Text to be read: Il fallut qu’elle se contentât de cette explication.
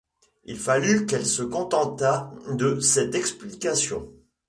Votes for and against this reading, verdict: 3, 0, accepted